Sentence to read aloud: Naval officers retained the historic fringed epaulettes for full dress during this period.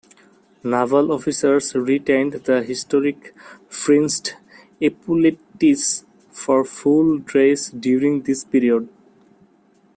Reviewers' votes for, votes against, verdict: 0, 2, rejected